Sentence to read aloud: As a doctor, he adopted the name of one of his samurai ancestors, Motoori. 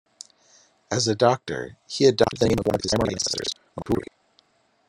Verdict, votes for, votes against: rejected, 1, 2